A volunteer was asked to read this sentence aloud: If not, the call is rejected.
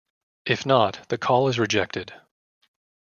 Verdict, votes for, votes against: rejected, 1, 2